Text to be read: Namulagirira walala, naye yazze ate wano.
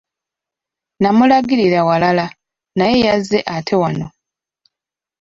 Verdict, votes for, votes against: accepted, 2, 0